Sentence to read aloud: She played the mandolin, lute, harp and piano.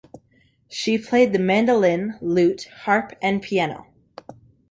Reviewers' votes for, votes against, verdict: 3, 0, accepted